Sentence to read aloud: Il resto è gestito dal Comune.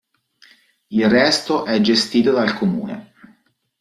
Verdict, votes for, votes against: accepted, 2, 0